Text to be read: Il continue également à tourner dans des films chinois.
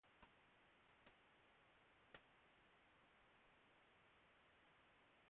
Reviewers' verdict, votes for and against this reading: rejected, 0, 2